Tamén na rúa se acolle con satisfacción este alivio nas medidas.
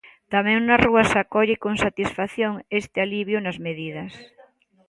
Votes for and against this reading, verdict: 2, 0, accepted